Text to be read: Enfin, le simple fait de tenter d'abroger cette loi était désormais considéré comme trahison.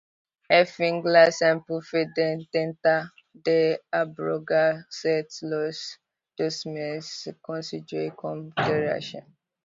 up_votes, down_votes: 0, 2